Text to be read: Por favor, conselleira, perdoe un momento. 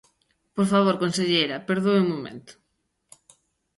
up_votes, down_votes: 2, 0